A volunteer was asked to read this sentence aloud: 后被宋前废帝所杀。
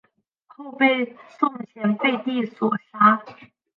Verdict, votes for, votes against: accepted, 4, 3